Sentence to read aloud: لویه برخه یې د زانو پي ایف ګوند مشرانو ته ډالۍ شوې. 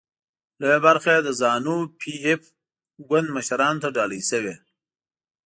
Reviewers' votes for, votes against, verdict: 2, 0, accepted